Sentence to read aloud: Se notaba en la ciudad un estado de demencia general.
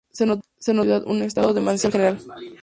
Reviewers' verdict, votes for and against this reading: rejected, 0, 2